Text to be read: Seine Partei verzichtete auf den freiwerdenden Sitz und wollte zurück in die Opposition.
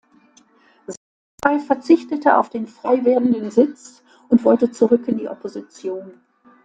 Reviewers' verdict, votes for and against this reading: rejected, 0, 2